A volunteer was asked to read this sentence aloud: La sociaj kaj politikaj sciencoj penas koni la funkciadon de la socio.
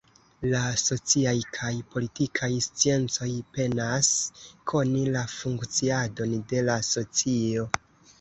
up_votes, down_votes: 0, 2